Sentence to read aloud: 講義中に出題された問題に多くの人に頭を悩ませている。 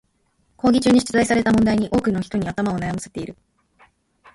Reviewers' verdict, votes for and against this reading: rejected, 1, 2